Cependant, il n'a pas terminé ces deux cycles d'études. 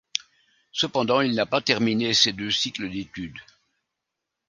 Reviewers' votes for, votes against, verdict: 2, 0, accepted